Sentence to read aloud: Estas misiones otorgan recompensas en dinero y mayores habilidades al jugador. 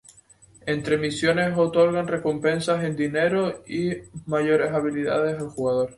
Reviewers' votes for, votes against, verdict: 0, 2, rejected